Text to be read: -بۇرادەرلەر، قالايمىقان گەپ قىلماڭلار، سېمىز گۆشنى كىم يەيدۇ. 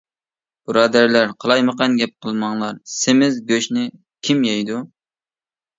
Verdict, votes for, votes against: accepted, 2, 0